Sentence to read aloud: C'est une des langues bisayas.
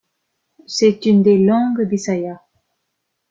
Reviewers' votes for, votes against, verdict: 3, 1, accepted